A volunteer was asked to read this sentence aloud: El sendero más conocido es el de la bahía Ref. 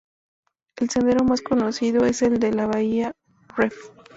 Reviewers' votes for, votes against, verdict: 0, 2, rejected